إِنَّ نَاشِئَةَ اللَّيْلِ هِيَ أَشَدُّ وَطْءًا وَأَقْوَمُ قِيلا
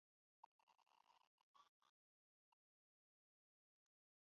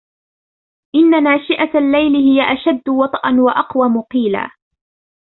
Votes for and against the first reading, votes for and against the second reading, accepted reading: 1, 2, 2, 0, second